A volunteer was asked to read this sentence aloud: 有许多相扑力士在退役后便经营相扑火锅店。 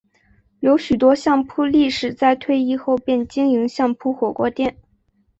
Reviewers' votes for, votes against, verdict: 2, 1, accepted